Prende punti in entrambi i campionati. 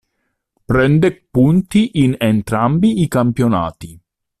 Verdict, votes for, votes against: accepted, 2, 1